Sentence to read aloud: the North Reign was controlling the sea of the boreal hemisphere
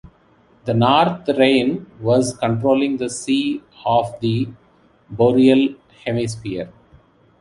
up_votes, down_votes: 2, 0